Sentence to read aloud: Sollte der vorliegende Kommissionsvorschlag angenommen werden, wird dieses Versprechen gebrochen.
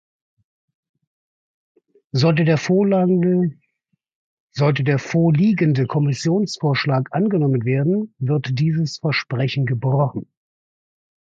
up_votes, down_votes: 0, 2